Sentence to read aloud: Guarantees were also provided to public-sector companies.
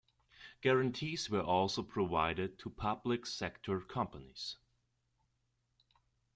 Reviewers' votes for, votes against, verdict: 2, 0, accepted